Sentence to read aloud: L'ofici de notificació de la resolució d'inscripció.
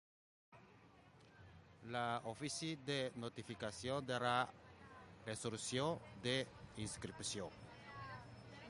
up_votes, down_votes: 0, 2